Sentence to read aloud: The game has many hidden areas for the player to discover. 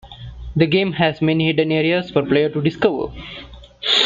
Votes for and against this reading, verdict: 1, 2, rejected